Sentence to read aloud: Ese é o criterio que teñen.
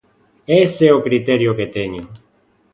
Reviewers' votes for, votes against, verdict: 2, 0, accepted